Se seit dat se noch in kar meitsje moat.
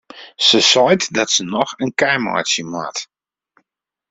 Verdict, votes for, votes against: rejected, 1, 2